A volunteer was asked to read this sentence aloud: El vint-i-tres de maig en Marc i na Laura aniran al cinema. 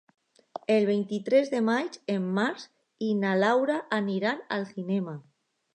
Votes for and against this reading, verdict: 1, 2, rejected